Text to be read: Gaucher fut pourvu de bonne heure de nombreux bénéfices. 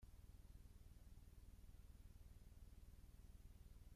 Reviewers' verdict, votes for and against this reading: rejected, 0, 3